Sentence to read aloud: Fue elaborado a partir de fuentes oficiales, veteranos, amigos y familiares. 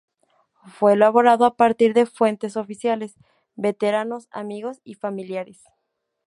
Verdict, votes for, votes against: rejected, 0, 2